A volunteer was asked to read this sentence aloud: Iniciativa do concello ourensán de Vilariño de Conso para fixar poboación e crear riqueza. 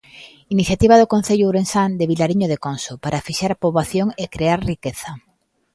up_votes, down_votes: 2, 0